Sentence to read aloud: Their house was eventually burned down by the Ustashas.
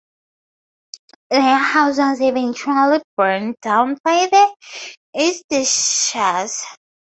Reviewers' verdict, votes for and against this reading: rejected, 2, 2